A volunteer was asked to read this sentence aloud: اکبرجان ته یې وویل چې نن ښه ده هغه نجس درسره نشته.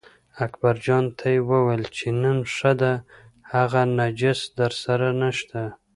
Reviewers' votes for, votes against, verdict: 2, 0, accepted